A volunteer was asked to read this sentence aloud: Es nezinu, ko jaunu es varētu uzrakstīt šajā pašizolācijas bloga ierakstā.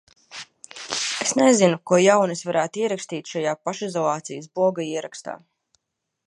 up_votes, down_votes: 0, 2